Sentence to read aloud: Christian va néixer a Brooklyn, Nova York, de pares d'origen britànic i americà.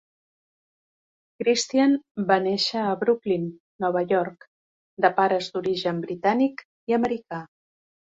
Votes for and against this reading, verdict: 2, 0, accepted